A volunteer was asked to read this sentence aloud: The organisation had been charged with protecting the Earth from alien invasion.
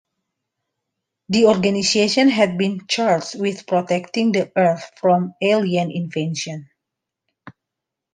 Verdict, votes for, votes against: accepted, 2, 1